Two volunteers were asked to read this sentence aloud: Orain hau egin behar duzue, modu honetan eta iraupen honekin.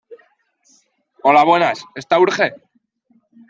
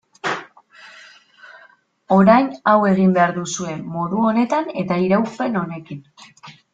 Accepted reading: second